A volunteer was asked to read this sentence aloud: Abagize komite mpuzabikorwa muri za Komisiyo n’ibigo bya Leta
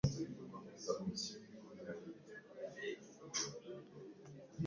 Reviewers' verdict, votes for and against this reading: rejected, 1, 2